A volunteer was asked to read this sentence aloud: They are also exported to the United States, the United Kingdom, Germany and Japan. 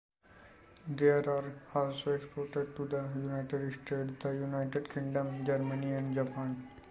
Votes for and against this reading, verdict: 1, 2, rejected